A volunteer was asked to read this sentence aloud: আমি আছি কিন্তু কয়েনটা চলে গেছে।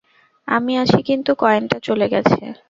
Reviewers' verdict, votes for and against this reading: rejected, 2, 2